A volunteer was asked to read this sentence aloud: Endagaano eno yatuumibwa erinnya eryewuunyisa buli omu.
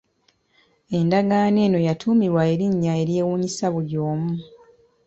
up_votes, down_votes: 2, 0